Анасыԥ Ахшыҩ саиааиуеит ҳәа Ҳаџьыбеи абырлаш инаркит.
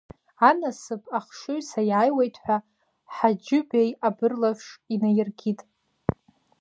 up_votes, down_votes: 0, 2